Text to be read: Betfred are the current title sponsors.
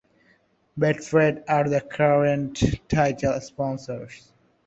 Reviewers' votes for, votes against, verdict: 2, 0, accepted